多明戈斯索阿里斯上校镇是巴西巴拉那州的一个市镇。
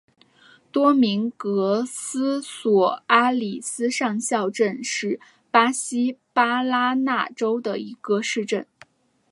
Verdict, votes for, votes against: accepted, 2, 0